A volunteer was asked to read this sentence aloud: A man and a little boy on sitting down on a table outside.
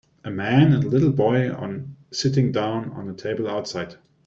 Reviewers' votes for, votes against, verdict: 2, 0, accepted